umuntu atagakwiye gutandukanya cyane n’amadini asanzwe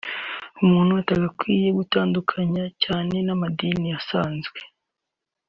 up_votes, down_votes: 2, 0